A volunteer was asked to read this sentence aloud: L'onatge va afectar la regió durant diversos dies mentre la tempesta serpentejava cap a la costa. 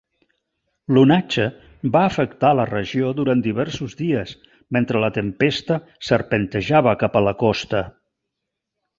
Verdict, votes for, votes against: accepted, 5, 0